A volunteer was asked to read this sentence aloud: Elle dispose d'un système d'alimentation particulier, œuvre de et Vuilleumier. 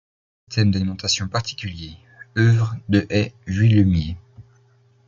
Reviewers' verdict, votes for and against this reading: rejected, 1, 2